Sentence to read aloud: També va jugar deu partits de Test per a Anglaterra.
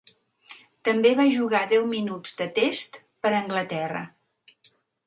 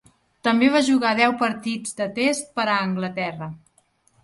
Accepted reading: second